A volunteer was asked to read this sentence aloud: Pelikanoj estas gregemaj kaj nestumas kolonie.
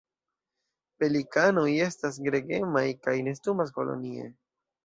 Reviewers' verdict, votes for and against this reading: accepted, 2, 0